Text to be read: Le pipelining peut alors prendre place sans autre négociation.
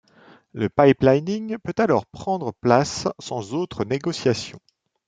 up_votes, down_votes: 2, 0